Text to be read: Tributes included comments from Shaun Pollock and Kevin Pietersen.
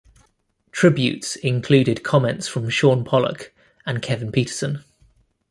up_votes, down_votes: 2, 0